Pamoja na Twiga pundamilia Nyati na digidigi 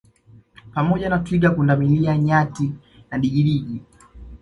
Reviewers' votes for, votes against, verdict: 2, 0, accepted